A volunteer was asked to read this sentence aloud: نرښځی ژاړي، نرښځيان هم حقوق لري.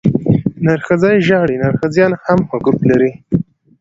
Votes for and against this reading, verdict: 2, 0, accepted